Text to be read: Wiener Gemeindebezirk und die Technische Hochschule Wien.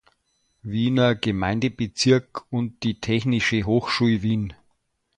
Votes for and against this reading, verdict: 0, 2, rejected